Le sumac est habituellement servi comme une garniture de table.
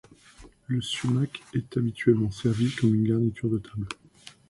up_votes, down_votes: 2, 0